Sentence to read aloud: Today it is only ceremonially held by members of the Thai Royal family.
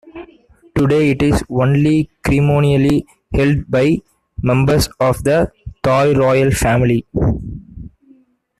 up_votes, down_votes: 0, 2